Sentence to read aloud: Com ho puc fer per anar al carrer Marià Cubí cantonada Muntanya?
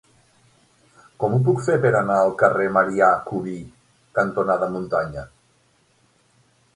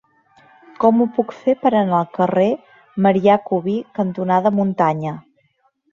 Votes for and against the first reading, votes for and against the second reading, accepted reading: 9, 0, 1, 2, first